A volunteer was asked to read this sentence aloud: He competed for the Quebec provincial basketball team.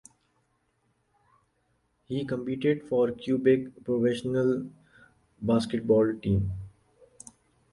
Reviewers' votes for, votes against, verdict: 1, 2, rejected